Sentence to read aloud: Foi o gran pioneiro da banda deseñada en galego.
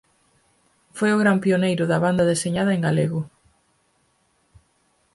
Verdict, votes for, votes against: accepted, 4, 0